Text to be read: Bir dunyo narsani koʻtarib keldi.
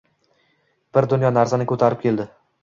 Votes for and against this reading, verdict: 2, 0, accepted